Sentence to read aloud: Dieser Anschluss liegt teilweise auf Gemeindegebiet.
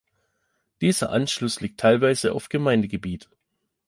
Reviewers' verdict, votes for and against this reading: accepted, 2, 0